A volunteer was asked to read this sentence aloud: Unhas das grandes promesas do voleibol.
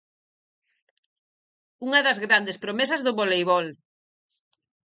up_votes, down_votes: 2, 4